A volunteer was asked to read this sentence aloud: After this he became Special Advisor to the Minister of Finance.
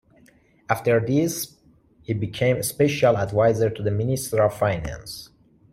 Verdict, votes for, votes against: accepted, 3, 1